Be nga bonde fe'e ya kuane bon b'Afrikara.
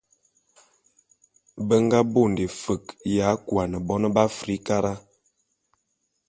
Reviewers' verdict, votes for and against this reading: accepted, 2, 0